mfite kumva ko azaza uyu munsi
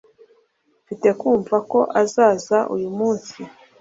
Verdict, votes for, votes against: accepted, 2, 0